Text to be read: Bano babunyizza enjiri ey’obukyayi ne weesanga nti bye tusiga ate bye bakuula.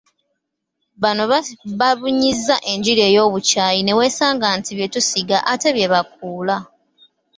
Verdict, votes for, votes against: rejected, 1, 2